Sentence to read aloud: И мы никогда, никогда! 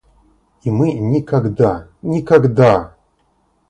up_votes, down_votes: 0, 2